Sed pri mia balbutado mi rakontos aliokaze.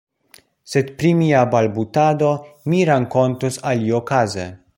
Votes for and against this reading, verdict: 0, 2, rejected